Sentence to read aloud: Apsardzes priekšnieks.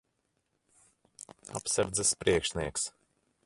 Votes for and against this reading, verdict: 1, 2, rejected